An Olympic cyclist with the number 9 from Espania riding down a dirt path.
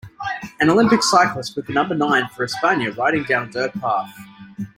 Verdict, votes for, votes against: rejected, 0, 2